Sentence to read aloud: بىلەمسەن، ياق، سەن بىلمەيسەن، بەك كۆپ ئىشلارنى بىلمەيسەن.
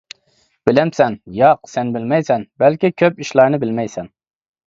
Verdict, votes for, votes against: rejected, 1, 2